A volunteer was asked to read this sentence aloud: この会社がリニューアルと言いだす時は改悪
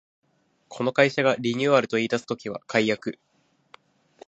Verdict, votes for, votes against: accepted, 2, 0